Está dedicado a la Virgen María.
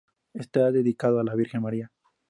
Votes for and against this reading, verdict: 4, 0, accepted